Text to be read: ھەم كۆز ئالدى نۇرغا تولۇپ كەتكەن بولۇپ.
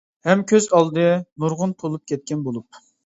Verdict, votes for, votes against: rejected, 0, 2